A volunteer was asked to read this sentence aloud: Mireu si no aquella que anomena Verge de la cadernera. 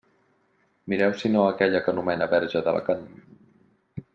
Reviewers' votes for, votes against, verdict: 0, 2, rejected